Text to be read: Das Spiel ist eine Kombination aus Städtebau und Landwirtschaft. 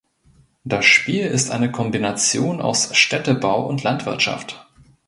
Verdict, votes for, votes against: accepted, 2, 0